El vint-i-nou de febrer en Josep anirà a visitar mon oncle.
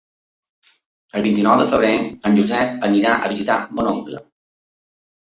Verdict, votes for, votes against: accepted, 2, 0